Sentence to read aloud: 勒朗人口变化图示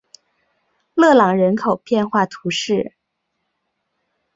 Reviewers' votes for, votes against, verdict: 3, 0, accepted